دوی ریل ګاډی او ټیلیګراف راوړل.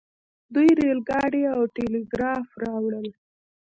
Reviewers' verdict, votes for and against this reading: rejected, 1, 2